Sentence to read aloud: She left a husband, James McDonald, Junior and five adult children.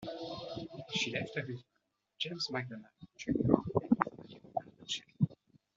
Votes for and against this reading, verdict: 0, 2, rejected